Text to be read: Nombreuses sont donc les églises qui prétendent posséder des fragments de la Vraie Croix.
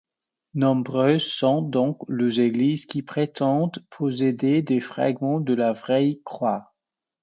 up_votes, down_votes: 2, 0